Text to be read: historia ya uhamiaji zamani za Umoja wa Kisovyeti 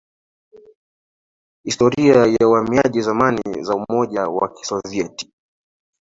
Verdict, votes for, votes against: rejected, 1, 2